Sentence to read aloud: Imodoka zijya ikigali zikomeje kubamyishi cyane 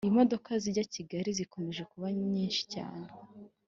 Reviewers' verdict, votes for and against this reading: accepted, 2, 0